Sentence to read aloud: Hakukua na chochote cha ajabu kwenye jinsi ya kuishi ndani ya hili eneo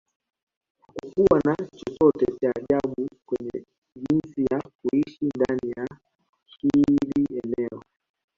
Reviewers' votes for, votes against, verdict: 2, 3, rejected